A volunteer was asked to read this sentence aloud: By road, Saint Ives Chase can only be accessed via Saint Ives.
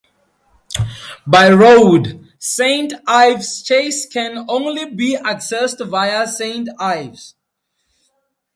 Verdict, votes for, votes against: accepted, 2, 0